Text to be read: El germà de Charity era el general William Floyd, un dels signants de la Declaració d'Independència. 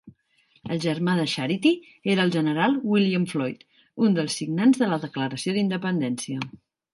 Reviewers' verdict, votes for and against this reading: accepted, 2, 0